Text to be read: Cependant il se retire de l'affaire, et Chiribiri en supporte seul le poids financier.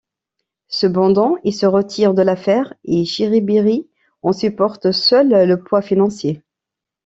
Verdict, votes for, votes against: accepted, 2, 0